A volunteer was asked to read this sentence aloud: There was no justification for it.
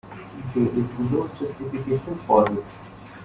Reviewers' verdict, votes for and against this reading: rejected, 1, 2